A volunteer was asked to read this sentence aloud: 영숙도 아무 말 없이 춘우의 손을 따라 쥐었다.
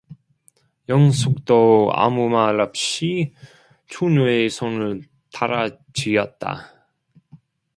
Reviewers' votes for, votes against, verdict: 0, 2, rejected